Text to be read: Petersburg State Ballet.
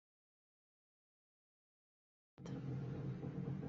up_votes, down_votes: 0, 2